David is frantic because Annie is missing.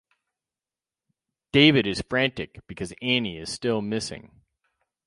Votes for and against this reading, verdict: 0, 4, rejected